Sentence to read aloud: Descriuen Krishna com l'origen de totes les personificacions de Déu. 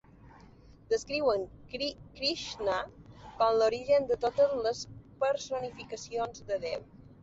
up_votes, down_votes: 0, 2